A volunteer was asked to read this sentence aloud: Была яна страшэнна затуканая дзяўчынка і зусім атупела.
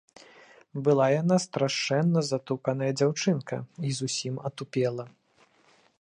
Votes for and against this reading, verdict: 3, 0, accepted